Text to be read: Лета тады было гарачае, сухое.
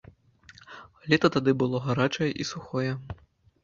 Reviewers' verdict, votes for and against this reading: rejected, 0, 2